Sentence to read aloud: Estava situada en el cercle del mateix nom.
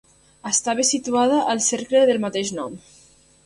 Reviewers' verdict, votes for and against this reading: rejected, 0, 2